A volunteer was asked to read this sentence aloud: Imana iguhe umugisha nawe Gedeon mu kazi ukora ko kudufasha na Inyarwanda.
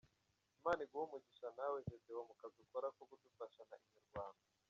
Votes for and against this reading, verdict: 2, 1, accepted